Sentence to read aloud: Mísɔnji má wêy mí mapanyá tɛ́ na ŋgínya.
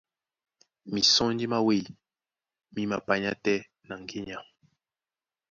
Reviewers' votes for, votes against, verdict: 2, 0, accepted